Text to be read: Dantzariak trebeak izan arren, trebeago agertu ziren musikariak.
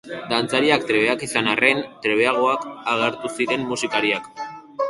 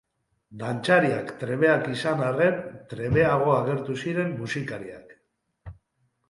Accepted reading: second